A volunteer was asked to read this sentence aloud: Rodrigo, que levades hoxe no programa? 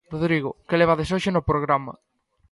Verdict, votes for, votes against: accepted, 2, 0